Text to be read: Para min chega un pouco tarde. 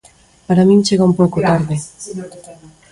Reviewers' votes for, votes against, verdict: 0, 2, rejected